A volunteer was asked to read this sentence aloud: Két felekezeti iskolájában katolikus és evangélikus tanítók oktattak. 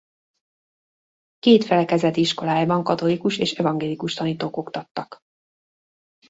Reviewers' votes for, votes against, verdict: 0, 2, rejected